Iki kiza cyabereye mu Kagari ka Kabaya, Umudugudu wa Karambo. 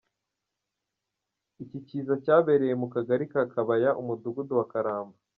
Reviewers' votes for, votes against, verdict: 2, 0, accepted